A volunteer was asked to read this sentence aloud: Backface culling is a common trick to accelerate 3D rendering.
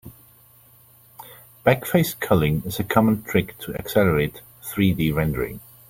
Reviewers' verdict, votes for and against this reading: rejected, 0, 2